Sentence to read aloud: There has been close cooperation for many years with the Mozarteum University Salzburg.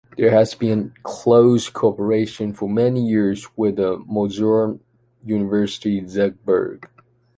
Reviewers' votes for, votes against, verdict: 1, 2, rejected